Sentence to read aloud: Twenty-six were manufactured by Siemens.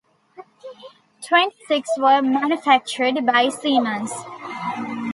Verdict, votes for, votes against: rejected, 1, 2